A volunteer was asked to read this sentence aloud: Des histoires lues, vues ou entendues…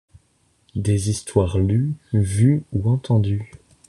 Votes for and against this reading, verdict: 2, 0, accepted